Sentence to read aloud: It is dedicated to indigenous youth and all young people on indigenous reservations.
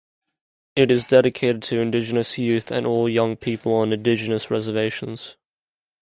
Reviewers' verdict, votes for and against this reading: accepted, 2, 0